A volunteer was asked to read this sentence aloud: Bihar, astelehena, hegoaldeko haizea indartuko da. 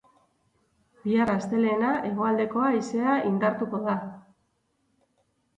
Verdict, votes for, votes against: accepted, 4, 2